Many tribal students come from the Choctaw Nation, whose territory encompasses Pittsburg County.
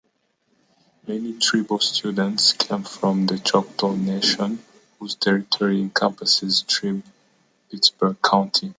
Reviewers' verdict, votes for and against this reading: rejected, 1, 2